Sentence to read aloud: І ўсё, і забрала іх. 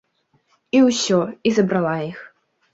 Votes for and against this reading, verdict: 2, 0, accepted